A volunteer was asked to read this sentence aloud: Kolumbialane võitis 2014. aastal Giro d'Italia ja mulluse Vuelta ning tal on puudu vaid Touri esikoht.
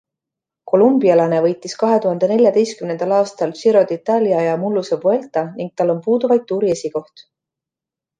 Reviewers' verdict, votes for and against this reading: rejected, 0, 2